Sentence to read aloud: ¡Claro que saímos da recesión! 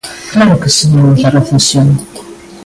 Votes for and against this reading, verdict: 0, 2, rejected